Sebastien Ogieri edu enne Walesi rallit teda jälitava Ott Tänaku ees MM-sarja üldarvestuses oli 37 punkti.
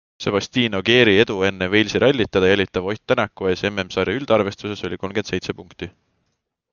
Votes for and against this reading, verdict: 0, 2, rejected